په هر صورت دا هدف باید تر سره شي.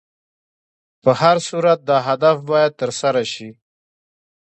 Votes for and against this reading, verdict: 1, 2, rejected